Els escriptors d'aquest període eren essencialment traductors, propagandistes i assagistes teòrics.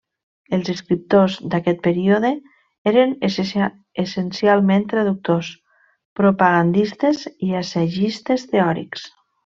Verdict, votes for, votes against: rejected, 1, 2